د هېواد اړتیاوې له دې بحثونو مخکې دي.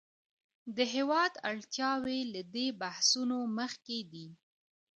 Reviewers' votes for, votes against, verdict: 0, 2, rejected